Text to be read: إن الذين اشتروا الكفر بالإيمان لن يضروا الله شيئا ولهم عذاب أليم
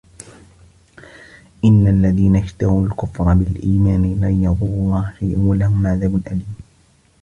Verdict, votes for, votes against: accepted, 2, 0